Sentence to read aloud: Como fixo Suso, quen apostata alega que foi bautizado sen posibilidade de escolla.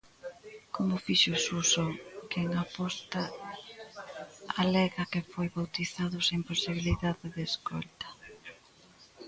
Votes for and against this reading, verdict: 0, 2, rejected